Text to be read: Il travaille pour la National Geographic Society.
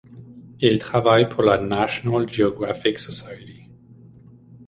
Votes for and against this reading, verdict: 2, 0, accepted